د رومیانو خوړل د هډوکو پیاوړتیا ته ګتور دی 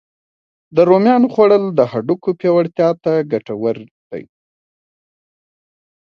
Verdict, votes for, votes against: accepted, 2, 0